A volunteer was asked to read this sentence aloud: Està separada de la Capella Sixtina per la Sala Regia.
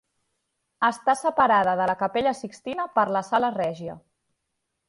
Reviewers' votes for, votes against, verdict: 2, 0, accepted